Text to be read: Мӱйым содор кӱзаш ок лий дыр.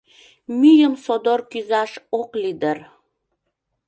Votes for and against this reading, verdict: 2, 0, accepted